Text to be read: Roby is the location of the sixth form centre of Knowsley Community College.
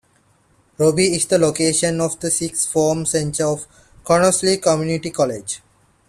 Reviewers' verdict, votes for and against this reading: rejected, 1, 2